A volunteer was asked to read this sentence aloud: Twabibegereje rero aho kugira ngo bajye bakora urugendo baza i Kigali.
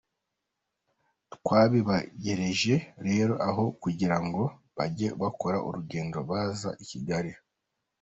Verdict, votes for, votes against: rejected, 0, 2